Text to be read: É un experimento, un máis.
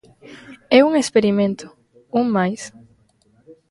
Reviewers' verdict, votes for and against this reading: rejected, 1, 2